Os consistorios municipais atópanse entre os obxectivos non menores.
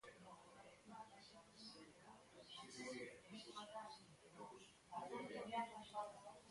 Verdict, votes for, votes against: rejected, 0, 2